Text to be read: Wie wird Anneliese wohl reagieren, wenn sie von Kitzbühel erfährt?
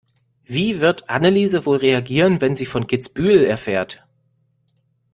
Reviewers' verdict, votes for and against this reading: accepted, 2, 0